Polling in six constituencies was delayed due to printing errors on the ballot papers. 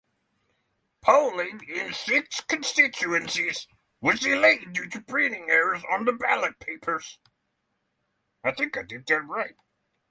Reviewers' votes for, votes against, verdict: 0, 3, rejected